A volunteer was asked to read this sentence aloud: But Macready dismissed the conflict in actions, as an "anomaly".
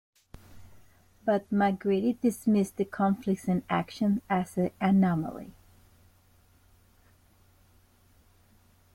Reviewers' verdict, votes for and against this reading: rejected, 1, 2